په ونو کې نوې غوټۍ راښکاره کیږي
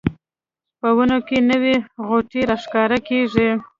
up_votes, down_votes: 1, 2